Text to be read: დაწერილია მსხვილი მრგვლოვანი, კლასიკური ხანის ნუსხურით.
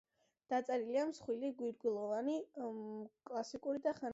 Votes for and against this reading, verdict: 0, 2, rejected